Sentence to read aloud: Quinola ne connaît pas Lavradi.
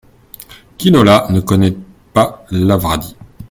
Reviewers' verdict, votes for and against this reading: accepted, 2, 0